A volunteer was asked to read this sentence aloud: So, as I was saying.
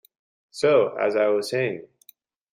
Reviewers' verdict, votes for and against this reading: accepted, 2, 0